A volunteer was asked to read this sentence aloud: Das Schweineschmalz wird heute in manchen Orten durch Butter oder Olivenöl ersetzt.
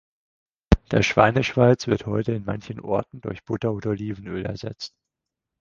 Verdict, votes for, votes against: rejected, 0, 4